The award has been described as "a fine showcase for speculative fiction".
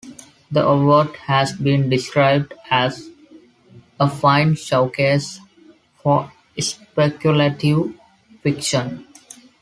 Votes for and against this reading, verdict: 2, 0, accepted